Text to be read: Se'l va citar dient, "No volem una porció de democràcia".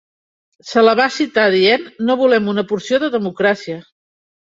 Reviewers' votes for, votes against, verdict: 1, 2, rejected